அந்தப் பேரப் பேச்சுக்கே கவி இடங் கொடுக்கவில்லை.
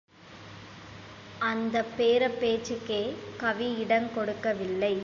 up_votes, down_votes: 1, 2